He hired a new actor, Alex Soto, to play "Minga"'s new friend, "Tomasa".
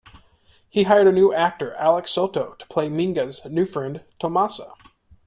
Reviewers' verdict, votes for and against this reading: accepted, 2, 0